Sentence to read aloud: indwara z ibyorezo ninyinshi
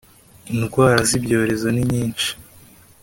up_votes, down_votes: 2, 0